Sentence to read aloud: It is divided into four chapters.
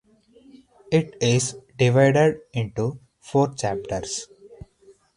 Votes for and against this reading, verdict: 4, 0, accepted